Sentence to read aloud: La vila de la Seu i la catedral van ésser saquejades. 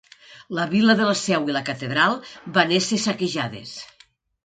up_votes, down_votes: 1, 2